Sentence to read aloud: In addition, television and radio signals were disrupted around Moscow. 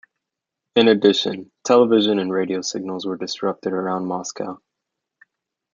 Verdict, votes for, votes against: accepted, 2, 0